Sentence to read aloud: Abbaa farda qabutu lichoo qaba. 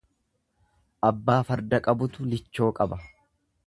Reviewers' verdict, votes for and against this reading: accepted, 2, 0